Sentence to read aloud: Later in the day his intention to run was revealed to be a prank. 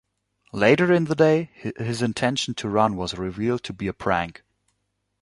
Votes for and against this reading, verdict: 2, 1, accepted